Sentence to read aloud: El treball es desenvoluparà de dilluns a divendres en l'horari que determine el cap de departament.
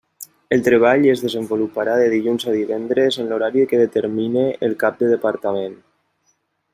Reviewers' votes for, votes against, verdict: 3, 1, accepted